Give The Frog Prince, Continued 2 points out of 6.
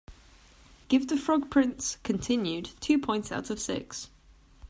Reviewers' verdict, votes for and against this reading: rejected, 0, 2